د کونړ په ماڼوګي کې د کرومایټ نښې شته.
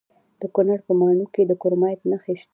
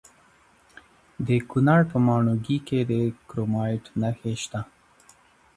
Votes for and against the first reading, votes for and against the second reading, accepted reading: 1, 2, 2, 0, second